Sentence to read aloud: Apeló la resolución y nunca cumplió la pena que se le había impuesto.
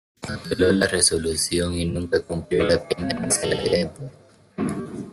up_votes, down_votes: 0, 2